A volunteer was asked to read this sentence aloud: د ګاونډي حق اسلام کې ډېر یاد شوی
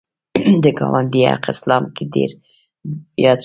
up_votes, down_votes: 1, 2